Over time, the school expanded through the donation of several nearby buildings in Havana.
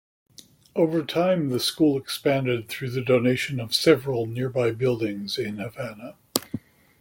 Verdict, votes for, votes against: accepted, 2, 0